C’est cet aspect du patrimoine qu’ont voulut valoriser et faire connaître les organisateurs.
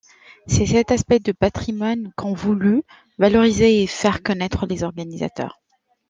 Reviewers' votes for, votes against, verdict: 0, 2, rejected